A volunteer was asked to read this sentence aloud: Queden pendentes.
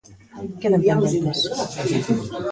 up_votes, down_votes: 1, 2